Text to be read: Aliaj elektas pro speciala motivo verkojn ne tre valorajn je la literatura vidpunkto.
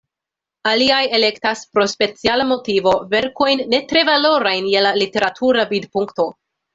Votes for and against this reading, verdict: 2, 0, accepted